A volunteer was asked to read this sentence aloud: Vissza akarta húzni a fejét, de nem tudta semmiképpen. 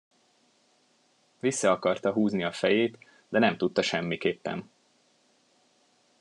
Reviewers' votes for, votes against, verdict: 2, 0, accepted